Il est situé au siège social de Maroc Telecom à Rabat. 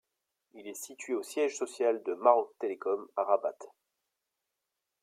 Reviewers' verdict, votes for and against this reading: rejected, 0, 2